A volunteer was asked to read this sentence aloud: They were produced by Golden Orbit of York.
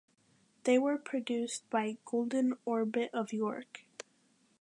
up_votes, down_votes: 2, 0